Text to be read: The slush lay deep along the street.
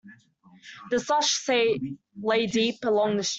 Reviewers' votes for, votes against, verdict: 0, 2, rejected